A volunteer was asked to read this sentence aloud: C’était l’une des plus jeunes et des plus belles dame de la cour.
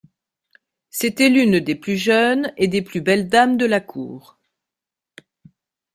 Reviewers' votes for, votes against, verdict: 2, 0, accepted